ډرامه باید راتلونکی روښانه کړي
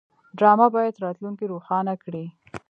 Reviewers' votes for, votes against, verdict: 1, 2, rejected